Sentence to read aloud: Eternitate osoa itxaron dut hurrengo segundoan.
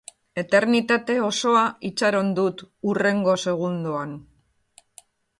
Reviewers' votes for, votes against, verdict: 2, 0, accepted